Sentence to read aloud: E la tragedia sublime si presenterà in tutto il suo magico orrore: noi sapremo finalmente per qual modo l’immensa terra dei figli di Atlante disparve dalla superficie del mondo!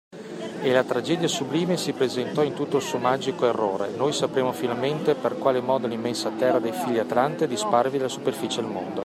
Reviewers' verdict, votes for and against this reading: rejected, 1, 2